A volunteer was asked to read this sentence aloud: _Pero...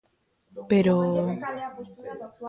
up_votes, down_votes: 1, 2